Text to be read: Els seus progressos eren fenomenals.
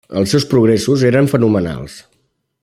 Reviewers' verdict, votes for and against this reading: accepted, 3, 0